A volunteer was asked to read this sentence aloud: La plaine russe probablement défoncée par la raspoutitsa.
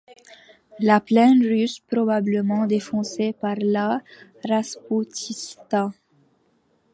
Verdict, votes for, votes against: rejected, 1, 2